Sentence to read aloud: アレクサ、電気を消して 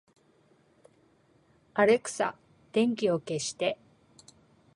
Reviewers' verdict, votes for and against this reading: accepted, 2, 1